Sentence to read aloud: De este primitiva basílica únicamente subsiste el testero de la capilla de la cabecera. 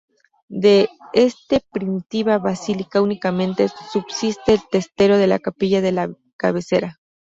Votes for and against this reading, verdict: 2, 0, accepted